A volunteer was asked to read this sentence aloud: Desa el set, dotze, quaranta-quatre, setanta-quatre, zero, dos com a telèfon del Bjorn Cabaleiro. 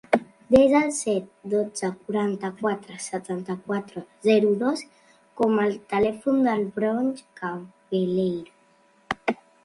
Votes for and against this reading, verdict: 0, 2, rejected